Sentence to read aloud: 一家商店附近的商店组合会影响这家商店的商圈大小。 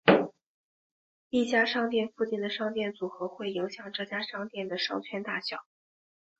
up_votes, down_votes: 5, 4